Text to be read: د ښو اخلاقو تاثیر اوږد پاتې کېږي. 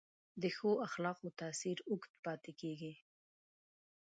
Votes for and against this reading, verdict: 1, 2, rejected